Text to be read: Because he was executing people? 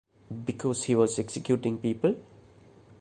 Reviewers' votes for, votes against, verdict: 2, 0, accepted